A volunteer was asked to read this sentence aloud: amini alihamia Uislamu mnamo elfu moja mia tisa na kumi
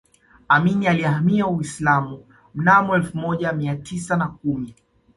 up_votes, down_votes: 2, 0